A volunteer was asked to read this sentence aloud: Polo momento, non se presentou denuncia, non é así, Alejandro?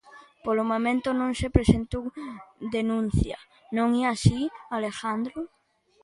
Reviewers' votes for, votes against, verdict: 1, 2, rejected